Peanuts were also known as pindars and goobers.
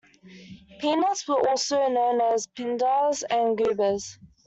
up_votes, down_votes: 2, 1